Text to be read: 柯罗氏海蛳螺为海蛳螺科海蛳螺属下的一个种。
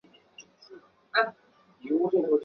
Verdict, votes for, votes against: rejected, 1, 2